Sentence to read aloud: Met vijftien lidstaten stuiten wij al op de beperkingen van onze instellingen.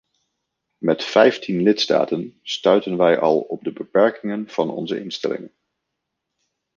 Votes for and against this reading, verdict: 1, 2, rejected